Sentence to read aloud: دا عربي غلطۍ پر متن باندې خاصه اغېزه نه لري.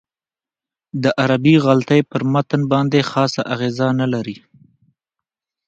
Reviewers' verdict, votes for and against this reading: accepted, 2, 0